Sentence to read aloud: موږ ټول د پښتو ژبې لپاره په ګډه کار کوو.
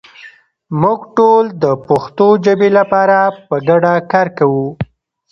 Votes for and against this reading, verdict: 2, 0, accepted